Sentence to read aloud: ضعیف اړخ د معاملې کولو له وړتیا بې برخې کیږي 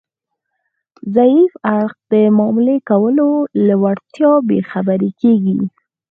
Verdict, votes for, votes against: accepted, 4, 2